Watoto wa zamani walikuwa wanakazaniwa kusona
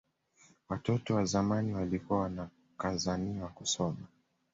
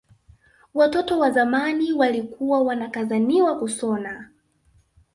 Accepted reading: first